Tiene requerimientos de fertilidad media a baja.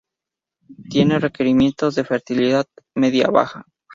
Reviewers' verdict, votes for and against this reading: accepted, 4, 0